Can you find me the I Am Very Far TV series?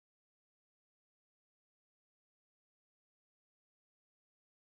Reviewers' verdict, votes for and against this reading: rejected, 0, 3